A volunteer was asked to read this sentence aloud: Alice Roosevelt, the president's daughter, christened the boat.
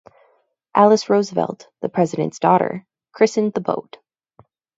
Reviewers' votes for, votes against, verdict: 2, 0, accepted